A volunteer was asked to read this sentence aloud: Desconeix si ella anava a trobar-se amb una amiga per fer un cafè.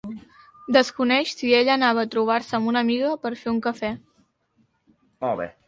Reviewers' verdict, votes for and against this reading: accepted, 3, 2